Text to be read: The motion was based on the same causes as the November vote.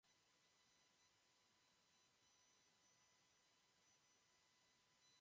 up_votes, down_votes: 0, 2